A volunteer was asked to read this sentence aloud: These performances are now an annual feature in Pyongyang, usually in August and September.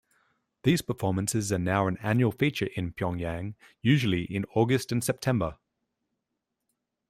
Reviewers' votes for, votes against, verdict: 2, 0, accepted